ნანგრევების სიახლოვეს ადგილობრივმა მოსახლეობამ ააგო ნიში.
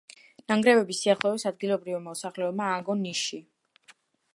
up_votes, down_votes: 2, 1